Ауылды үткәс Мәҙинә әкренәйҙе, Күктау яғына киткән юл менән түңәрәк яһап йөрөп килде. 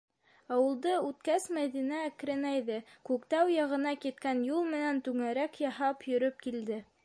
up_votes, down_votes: 2, 0